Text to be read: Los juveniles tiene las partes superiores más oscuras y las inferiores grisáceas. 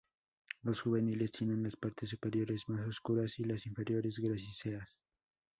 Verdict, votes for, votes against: rejected, 0, 2